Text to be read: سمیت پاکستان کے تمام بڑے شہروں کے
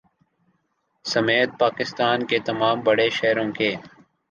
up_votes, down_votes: 3, 0